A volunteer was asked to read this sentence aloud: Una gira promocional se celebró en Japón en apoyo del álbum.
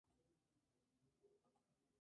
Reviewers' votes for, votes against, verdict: 0, 2, rejected